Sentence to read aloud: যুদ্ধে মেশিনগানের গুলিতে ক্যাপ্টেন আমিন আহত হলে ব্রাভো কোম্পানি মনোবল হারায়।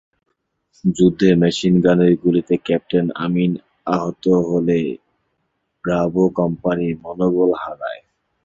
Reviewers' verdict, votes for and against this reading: accepted, 2, 0